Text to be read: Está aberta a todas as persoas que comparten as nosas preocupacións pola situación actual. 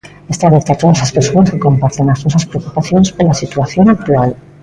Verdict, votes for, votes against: rejected, 0, 2